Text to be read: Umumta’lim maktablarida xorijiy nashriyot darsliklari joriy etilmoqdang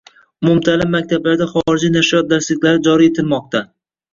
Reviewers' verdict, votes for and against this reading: accepted, 2, 1